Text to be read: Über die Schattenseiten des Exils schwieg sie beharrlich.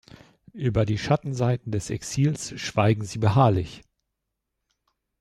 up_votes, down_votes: 0, 2